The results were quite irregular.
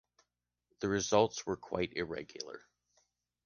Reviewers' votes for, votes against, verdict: 2, 0, accepted